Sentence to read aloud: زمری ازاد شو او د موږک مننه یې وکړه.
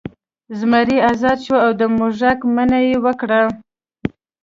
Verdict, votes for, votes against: rejected, 1, 2